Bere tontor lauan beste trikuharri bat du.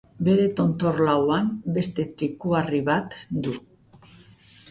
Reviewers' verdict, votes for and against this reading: rejected, 1, 2